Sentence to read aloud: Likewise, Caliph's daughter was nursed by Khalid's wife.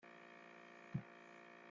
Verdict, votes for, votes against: rejected, 0, 2